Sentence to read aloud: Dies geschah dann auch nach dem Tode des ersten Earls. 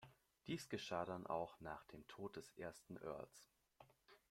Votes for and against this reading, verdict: 2, 1, accepted